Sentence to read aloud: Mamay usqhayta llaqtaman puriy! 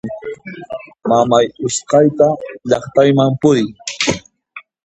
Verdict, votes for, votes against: rejected, 1, 2